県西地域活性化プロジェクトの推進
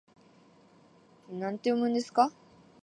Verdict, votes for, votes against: rejected, 0, 2